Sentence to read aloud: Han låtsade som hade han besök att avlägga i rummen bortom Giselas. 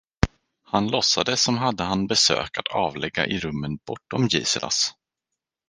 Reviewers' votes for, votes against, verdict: 4, 0, accepted